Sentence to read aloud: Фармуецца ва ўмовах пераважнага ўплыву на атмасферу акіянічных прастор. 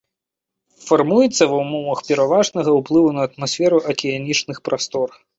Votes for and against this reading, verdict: 2, 0, accepted